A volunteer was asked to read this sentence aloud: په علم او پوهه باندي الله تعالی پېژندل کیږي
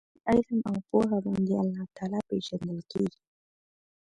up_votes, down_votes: 1, 2